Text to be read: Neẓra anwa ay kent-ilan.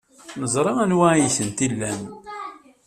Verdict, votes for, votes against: rejected, 1, 2